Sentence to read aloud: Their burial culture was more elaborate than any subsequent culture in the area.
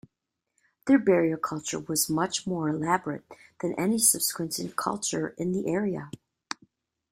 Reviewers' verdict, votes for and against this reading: rejected, 1, 2